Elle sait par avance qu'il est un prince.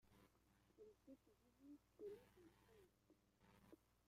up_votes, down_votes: 0, 2